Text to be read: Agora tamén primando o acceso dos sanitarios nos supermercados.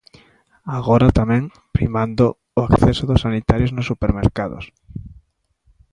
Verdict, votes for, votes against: accepted, 2, 0